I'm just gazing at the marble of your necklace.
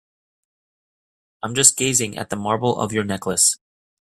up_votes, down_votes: 2, 0